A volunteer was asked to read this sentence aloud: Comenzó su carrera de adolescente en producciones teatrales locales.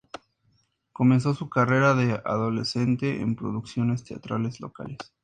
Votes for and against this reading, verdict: 2, 0, accepted